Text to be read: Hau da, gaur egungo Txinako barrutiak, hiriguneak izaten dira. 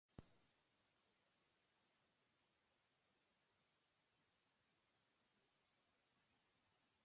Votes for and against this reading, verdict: 0, 4, rejected